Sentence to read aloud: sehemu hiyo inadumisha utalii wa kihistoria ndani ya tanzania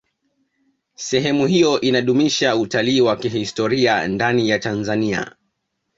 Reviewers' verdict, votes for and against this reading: accepted, 2, 1